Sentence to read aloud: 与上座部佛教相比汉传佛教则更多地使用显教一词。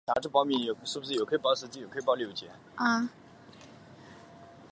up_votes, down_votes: 2, 1